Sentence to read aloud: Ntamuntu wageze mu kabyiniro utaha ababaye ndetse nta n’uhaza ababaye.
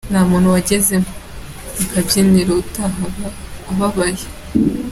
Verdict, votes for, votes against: rejected, 0, 3